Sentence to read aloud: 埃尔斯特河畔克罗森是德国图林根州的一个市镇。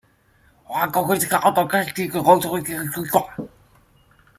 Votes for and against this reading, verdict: 0, 2, rejected